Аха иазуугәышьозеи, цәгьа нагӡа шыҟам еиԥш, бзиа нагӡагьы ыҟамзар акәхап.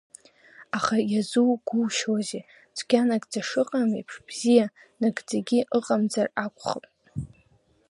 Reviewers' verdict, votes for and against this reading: rejected, 1, 2